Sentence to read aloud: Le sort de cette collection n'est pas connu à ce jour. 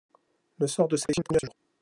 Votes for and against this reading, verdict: 0, 2, rejected